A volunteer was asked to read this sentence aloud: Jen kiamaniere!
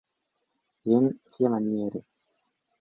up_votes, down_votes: 0, 2